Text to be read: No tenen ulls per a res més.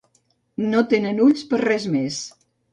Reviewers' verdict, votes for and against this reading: rejected, 0, 2